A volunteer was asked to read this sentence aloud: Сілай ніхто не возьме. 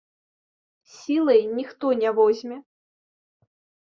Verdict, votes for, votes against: accepted, 2, 0